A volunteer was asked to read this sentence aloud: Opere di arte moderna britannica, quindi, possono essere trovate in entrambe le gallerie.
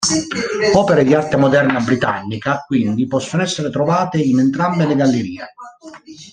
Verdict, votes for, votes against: rejected, 0, 2